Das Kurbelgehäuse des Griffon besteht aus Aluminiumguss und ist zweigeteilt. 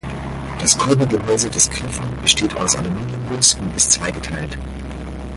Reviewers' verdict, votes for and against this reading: rejected, 2, 4